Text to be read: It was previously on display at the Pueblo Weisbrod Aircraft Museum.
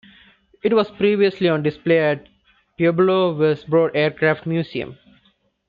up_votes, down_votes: 2, 1